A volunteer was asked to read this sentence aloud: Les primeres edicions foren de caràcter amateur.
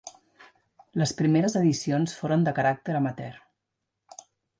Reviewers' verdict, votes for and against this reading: accepted, 2, 0